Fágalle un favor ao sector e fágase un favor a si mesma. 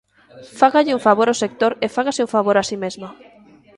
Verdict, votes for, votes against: accepted, 2, 0